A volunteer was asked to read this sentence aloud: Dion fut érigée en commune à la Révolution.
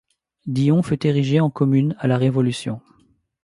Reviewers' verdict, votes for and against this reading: accepted, 3, 0